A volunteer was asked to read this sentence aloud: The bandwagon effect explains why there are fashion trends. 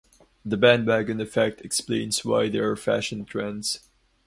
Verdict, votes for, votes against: accepted, 2, 0